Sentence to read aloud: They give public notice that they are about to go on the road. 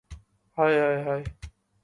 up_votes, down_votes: 0, 2